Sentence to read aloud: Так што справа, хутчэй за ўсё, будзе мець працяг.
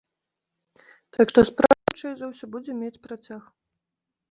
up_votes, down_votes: 1, 2